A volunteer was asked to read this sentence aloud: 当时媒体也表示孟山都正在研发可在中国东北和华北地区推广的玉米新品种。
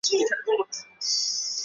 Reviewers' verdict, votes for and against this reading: rejected, 0, 5